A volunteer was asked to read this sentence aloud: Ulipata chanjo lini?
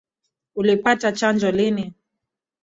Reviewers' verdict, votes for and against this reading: accepted, 2, 0